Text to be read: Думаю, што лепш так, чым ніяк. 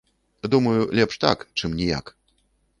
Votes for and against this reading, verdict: 1, 2, rejected